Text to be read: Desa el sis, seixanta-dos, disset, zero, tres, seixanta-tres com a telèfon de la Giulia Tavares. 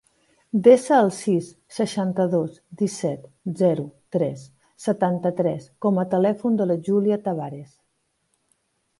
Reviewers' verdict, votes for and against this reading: rejected, 0, 2